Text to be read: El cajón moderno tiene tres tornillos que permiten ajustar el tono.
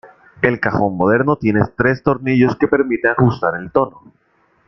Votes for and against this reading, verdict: 0, 2, rejected